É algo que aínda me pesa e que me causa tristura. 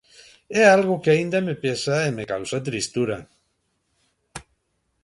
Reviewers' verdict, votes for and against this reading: rejected, 1, 2